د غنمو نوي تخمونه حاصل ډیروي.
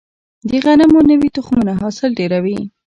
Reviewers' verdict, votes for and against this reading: rejected, 1, 2